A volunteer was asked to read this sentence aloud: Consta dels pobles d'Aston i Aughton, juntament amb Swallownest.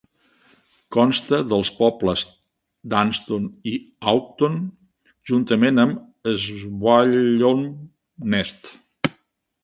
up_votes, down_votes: 0, 2